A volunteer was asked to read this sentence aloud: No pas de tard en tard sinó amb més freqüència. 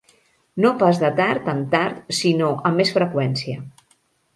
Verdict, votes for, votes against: accepted, 2, 0